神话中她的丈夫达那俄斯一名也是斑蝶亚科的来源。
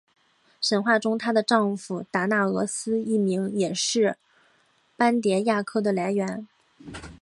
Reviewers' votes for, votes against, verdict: 0, 2, rejected